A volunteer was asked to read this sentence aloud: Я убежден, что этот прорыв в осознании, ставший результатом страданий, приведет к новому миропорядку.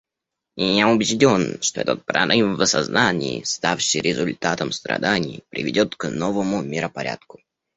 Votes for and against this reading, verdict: 1, 2, rejected